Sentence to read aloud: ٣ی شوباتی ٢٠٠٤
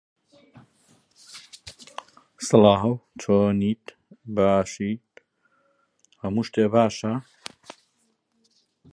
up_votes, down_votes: 0, 2